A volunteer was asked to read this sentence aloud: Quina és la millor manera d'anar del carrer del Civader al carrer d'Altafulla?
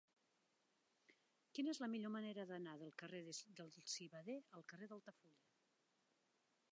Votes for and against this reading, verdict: 2, 1, accepted